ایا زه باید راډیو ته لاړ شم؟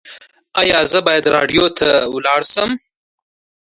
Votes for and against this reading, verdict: 2, 1, accepted